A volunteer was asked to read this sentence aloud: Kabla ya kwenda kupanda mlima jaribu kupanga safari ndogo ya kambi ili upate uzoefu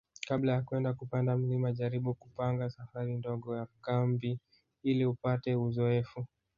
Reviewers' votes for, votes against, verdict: 4, 0, accepted